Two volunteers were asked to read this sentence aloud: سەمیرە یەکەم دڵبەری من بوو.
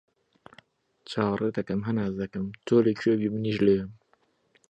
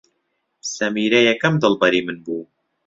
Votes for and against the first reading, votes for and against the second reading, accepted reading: 0, 2, 3, 0, second